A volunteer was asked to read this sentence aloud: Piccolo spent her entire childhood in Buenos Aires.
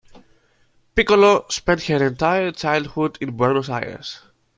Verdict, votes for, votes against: accepted, 2, 0